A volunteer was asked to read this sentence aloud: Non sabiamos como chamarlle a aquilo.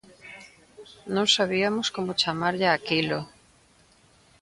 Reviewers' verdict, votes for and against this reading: rejected, 1, 2